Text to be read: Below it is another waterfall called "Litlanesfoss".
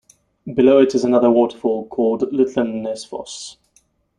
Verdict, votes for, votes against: rejected, 1, 2